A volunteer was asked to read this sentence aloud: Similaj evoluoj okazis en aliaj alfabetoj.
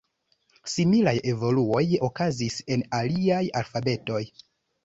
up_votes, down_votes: 2, 0